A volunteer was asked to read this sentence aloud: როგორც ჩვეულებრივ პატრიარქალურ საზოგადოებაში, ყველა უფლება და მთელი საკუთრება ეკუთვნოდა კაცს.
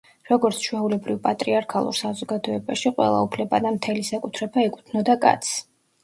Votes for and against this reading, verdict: 1, 2, rejected